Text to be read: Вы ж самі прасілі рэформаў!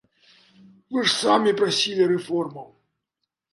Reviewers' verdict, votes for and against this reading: accepted, 2, 0